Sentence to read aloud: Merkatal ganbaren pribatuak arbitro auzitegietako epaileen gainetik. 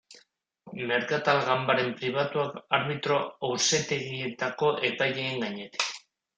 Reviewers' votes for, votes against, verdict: 1, 2, rejected